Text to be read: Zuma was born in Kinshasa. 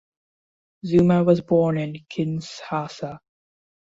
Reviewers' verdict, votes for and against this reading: rejected, 0, 2